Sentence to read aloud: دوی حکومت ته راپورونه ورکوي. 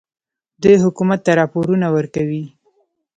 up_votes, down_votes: 1, 2